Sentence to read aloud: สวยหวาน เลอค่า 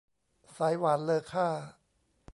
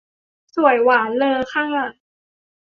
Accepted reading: second